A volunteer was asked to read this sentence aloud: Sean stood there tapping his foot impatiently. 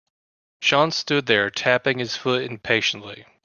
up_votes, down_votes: 2, 0